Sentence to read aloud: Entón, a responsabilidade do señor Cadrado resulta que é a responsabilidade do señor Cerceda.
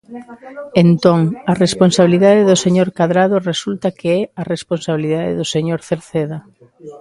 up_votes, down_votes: 0, 2